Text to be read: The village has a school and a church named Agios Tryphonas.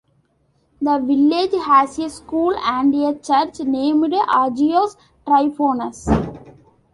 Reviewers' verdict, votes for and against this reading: accepted, 2, 0